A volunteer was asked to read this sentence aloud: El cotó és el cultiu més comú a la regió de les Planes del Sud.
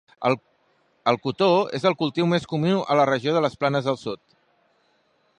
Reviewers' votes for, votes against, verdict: 0, 2, rejected